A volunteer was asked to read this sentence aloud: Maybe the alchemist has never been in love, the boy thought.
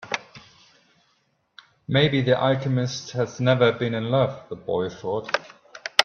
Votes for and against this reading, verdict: 2, 0, accepted